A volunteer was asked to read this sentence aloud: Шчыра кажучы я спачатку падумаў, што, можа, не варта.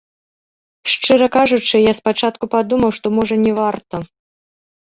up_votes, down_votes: 2, 0